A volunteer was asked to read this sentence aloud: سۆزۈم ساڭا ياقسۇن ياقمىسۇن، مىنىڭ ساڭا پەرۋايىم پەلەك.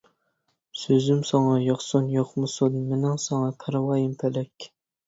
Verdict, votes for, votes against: accepted, 2, 0